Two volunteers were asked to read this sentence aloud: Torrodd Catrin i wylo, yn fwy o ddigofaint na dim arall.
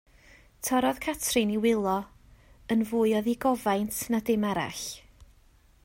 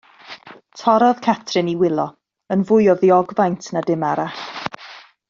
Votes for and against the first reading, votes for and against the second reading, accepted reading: 2, 0, 1, 2, first